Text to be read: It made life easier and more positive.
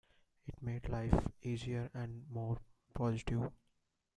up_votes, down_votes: 2, 0